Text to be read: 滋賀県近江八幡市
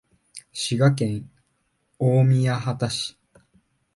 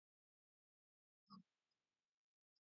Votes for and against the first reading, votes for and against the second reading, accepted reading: 2, 0, 0, 2, first